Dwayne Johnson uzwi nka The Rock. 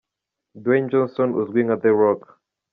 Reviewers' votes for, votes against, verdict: 2, 0, accepted